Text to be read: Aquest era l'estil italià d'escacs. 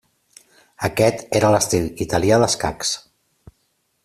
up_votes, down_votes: 3, 0